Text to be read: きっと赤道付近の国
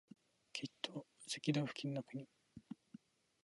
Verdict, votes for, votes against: rejected, 2, 2